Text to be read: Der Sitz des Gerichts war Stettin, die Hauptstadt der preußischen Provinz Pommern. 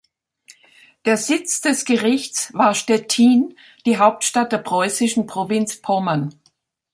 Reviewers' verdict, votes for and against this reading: accepted, 2, 0